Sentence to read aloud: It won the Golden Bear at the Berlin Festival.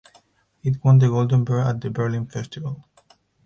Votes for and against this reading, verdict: 2, 4, rejected